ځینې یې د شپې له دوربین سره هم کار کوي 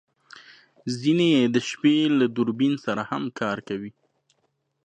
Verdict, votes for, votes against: accepted, 2, 0